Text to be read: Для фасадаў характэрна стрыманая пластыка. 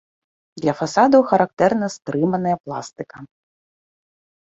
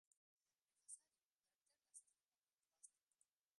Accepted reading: first